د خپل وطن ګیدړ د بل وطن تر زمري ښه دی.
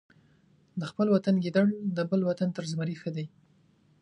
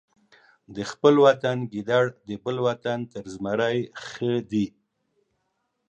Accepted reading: first